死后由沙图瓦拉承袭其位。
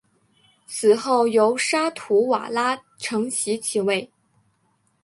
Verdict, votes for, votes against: accepted, 2, 0